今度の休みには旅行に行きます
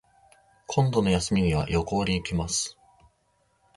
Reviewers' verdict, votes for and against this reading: accepted, 2, 0